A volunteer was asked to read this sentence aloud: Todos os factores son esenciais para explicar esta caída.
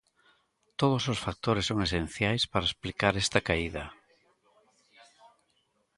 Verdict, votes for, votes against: rejected, 1, 2